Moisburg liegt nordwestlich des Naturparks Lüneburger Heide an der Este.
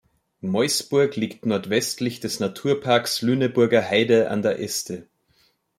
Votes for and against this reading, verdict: 1, 2, rejected